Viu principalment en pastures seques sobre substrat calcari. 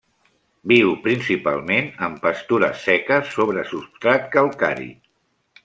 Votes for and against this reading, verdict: 3, 0, accepted